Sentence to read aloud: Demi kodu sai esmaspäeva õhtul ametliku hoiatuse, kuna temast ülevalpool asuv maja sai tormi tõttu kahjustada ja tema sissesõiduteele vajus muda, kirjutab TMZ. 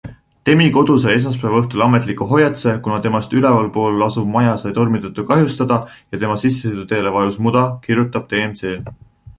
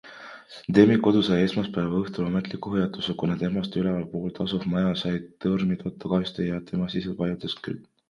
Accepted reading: first